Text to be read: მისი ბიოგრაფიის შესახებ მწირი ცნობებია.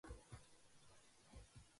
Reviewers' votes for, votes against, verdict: 0, 2, rejected